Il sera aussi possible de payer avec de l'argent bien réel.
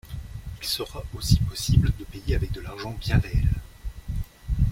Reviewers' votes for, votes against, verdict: 2, 0, accepted